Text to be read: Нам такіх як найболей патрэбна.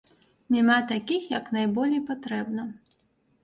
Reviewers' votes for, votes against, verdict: 0, 2, rejected